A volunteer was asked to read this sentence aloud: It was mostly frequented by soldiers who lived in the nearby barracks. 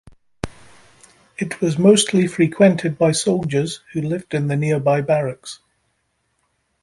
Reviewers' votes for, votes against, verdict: 2, 0, accepted